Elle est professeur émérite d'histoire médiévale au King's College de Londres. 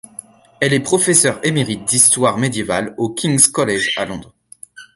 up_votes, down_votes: 0, 2